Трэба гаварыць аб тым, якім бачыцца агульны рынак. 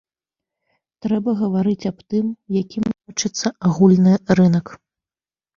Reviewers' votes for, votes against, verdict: 1, 2, rejected